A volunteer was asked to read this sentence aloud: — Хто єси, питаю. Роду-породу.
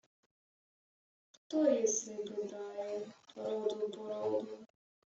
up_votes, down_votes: 0, 2